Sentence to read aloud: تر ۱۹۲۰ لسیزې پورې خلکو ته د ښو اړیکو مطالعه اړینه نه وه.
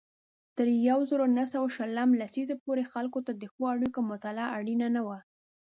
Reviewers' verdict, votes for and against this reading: rejected, 0, 2